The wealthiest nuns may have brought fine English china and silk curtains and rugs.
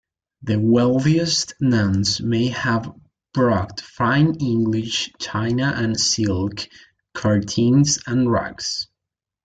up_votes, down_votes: 0, 2